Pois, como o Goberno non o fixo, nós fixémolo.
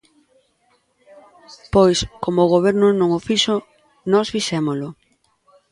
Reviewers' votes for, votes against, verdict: 2, 0, accepted